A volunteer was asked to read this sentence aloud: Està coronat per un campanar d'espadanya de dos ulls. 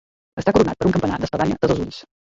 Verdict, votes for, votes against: rejected, 0, 2